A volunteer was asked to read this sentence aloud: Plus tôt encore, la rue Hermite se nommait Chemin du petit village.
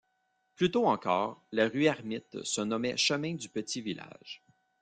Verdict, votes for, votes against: rejected, 1, 2